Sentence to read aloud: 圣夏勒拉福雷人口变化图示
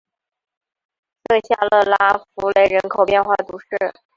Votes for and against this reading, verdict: 1, 2, rejected